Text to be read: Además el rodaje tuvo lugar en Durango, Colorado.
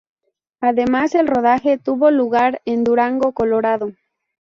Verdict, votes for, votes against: accepted, 2, 0